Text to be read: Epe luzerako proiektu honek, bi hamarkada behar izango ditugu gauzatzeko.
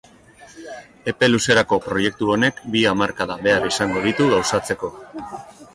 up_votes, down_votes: 1, 2